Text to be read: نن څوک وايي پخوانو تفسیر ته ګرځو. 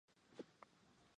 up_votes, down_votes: 0, 2